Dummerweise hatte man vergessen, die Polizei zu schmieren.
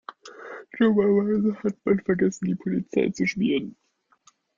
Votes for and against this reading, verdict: 1, 2, rejected